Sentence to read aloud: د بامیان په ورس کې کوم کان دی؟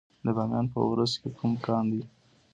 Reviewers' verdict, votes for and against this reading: rejected, 1, 2